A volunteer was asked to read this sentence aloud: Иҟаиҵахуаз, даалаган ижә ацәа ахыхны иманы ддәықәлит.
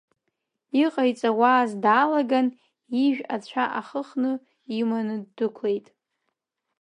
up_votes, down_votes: 1, 2